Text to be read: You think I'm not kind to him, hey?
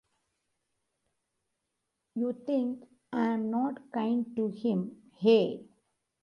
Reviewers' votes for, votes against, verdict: 1, 2, rejected